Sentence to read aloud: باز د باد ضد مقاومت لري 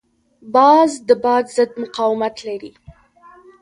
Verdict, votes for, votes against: accepted, 2, 0